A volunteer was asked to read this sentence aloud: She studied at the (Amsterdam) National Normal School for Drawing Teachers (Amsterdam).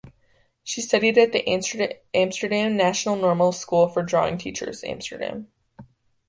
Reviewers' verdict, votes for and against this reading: rejected, 0, 2